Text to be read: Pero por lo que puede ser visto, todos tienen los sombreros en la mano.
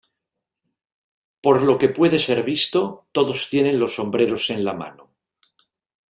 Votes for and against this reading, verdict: 1, 3, rejected